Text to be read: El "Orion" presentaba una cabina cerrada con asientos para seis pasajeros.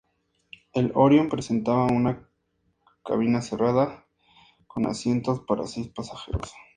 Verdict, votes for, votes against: rejected, 0, 2